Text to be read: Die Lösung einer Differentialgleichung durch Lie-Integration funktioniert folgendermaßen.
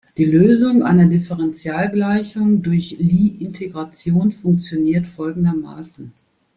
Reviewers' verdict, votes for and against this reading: accepted, 2, 0